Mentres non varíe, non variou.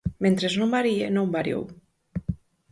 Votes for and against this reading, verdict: 4, 0, accepted